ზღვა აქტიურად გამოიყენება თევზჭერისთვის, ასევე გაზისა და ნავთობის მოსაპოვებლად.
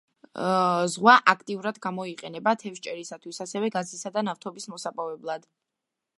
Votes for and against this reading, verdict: 2, 0, accepted